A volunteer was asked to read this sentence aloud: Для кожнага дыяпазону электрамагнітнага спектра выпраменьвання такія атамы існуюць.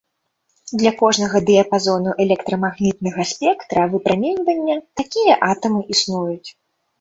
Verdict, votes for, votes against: rejected, 1, 2